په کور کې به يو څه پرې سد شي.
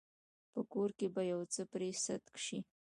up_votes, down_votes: 2, 1